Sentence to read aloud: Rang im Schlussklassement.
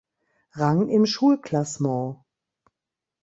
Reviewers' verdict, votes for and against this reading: accepted, 2, 0